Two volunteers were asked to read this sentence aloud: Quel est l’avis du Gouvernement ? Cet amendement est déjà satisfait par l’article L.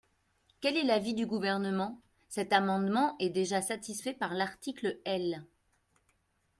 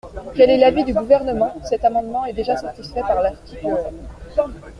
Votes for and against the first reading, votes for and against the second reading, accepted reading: 2, 0, 1, 2, first